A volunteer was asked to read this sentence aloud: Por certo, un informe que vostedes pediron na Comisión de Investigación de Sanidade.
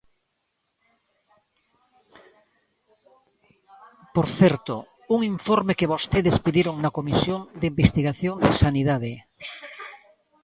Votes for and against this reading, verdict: 0, 2, rejected